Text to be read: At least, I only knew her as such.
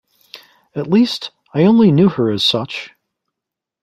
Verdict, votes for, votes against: accepted, 2, 0